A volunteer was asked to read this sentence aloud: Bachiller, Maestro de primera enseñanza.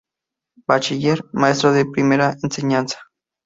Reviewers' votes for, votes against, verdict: 2, 0, accepted